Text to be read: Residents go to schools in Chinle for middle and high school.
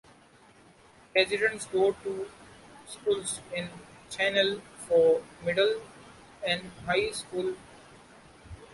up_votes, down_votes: 0, 2